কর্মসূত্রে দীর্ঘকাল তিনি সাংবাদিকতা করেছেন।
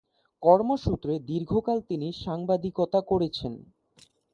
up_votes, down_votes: 2, 0